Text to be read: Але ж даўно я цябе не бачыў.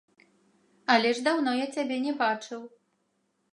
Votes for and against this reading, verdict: 2, 0, accepted